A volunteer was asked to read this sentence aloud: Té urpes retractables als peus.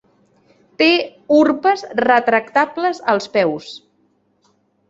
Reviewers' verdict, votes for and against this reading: accepted, 3, 0